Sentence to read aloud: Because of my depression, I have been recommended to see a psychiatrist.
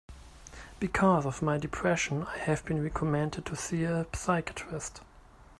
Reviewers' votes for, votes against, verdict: 0, 2, rejected